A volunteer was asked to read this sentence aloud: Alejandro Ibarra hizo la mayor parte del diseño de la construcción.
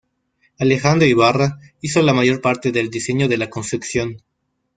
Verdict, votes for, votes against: rejected, 0, 2